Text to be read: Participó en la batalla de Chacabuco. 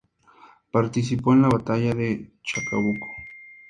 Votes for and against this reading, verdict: 2, 0, accepted